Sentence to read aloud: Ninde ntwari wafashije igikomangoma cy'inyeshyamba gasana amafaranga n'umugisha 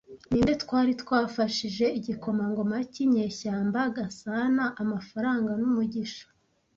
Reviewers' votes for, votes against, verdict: 0, 2, rejected